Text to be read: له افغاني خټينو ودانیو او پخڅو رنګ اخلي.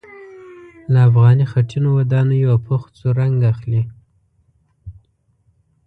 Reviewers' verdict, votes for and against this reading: rejected, 0, 2